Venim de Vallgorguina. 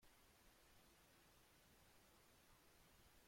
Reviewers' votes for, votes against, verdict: 0, 2, rejected